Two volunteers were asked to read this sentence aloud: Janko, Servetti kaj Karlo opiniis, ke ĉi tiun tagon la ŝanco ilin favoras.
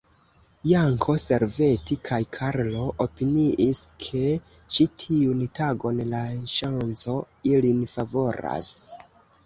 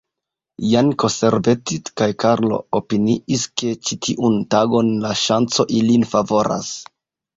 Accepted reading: second